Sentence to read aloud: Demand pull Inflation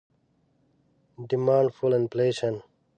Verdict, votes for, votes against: rejected, 0, 2